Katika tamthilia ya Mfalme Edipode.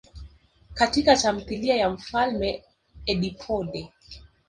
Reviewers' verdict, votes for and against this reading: rejected, 1, 2